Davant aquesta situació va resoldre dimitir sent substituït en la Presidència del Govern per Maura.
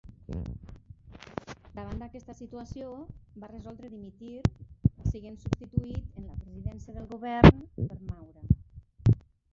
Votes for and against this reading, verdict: 0, 2, rejected